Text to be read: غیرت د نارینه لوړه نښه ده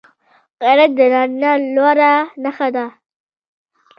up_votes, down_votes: 2, 0